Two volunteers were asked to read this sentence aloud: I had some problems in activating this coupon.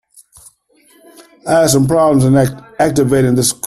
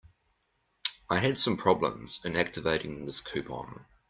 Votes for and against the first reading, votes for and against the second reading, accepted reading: 0, 2, 2, 0, second